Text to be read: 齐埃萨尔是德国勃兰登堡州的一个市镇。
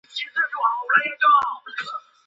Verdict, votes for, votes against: rejected, 0, 3